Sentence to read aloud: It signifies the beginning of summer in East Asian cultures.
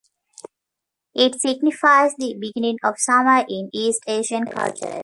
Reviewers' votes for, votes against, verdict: 2, 1, accepted